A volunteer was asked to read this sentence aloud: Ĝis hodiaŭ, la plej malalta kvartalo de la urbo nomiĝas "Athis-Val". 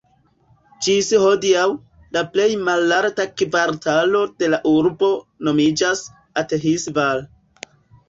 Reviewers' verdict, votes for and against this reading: accepted, 2, 1